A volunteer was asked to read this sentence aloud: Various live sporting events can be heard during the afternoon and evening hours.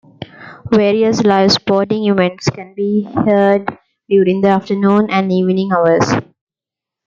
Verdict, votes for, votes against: accepted, 2, 0